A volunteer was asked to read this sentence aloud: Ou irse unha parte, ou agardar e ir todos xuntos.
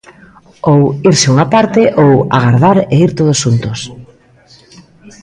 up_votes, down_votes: 1, 2